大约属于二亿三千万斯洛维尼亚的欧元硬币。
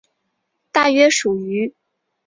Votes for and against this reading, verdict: 1, 2, rejected